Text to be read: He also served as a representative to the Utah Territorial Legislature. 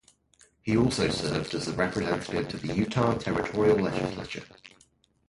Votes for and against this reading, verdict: 0, 2, rejected